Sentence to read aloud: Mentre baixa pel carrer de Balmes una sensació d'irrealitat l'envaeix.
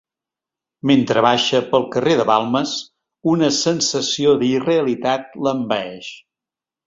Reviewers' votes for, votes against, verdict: 2, 0, accepted